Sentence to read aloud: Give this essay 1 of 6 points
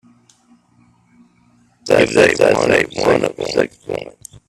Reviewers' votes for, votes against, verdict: 0, 2, rejected